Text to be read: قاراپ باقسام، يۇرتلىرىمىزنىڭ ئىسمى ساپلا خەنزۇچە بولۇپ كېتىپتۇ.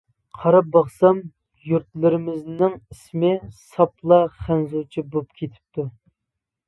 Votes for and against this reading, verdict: 2, 0, accepted